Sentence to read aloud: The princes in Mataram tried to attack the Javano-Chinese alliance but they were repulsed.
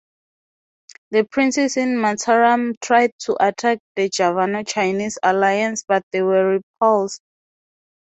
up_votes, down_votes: 4, 0